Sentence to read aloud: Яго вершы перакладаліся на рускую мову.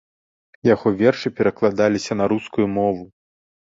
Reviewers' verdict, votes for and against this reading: accepted, 2, 0